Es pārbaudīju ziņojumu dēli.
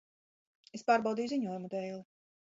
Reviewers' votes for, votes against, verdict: 1, 2, rejected